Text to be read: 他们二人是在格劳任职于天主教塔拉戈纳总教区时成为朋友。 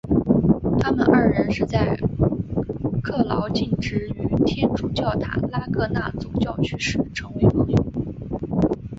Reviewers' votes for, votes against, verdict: 0, 2, rejected